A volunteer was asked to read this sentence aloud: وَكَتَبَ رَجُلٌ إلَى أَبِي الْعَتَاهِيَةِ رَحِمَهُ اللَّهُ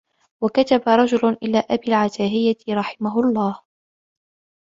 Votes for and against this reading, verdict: 2, 0, accepted